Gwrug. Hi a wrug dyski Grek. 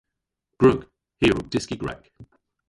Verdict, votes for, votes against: rejected, 1, 2